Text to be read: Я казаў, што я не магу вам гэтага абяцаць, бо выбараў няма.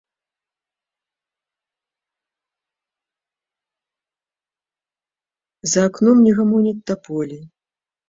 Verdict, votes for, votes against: rejected, 0, 2